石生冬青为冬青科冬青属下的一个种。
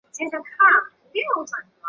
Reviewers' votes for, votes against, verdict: 0, 3, rejected